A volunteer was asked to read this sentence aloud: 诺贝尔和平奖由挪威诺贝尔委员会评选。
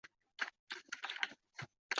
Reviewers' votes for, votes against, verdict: 0, 4, rejected